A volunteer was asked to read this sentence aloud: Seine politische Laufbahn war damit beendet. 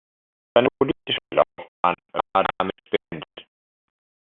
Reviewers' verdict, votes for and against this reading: rejected, 0, 2